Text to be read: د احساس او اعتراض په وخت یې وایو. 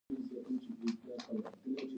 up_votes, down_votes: 0, 2